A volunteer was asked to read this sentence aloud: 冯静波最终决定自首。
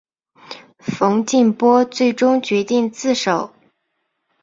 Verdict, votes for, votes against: accepted, 5, 0